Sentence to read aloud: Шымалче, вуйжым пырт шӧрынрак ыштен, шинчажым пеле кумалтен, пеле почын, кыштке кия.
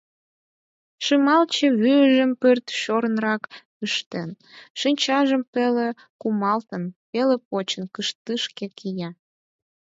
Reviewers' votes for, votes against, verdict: 0, 4, rejected